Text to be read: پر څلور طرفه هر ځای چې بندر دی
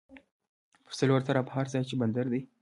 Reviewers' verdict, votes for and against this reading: rejected, 1, 2